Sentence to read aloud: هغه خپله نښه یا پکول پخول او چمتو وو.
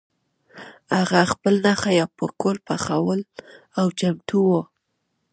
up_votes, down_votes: 0, 2